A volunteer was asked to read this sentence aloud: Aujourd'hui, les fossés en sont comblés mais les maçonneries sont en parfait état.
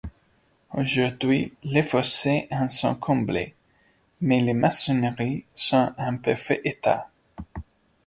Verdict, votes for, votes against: accepted, 2, 0